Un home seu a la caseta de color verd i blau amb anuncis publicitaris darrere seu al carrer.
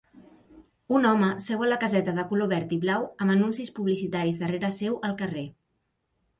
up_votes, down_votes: 3, 0